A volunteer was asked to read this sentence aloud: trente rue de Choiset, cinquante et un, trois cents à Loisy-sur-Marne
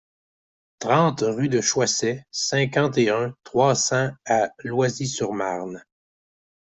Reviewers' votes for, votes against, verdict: 2, 0, accepted